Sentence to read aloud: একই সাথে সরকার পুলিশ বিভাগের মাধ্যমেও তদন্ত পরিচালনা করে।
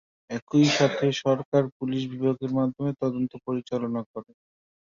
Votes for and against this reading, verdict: 0, 2, rejected